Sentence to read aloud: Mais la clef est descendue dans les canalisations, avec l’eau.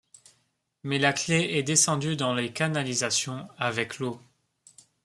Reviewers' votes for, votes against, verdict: 2, 0, accepted